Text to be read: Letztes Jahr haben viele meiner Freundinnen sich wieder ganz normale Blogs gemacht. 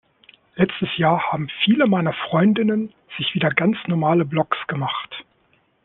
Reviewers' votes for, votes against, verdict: 2, 0, accepted